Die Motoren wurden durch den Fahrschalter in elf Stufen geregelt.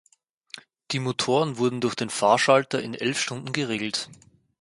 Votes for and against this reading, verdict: 0, 4, rejected